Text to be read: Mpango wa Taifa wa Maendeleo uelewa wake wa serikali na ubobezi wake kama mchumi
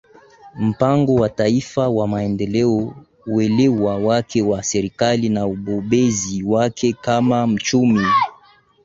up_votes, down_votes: 2, 3